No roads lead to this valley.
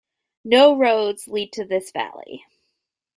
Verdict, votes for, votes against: accepted, 2, 0